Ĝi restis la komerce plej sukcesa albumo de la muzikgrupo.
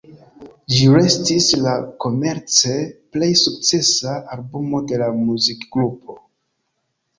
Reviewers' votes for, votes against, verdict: 2, 0, accepted